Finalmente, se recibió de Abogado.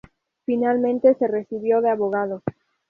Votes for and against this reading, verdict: 2, 0, accepted